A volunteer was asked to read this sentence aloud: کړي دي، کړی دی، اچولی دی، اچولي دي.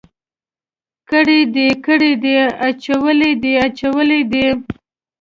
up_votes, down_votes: 0, 2